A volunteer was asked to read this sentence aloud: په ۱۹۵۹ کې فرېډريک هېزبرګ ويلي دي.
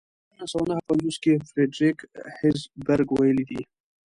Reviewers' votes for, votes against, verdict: 0, 2, rejected